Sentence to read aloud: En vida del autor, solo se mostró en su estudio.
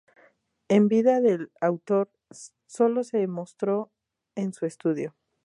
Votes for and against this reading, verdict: 2, 0, accepted